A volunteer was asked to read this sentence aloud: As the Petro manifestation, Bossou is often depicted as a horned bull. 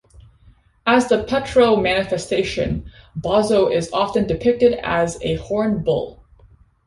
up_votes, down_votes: 2, 0